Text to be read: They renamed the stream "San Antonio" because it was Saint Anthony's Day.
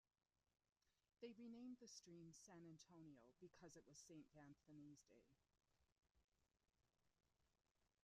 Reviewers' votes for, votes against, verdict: 1, 2, rejected